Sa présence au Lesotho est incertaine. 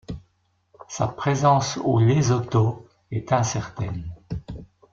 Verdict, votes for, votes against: accepted, 2, 0